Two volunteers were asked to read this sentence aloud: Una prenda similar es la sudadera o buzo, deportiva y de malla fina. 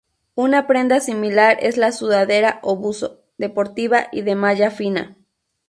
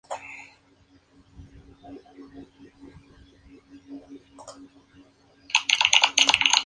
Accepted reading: first